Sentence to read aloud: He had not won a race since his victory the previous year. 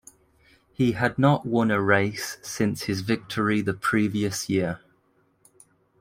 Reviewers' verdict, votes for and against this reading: rejected, 1, 2